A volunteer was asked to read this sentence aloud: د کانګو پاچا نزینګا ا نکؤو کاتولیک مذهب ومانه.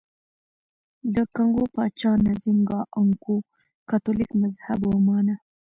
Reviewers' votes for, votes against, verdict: 2, 1, accepted